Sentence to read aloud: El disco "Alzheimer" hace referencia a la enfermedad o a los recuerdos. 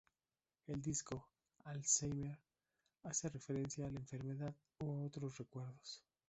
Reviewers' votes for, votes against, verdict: 0, 2, rejected